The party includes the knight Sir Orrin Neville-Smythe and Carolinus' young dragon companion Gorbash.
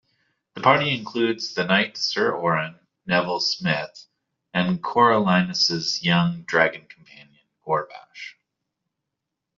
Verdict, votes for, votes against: rejected, 0, 2